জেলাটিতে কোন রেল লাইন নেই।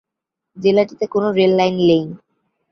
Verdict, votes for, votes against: rejected, 4, 5